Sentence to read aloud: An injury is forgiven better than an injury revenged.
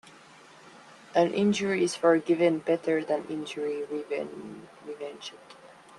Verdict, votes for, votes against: rejected, 1, 2